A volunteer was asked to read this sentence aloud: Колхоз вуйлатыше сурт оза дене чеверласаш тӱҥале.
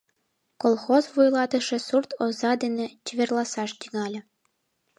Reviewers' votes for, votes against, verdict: 3, 0, accepted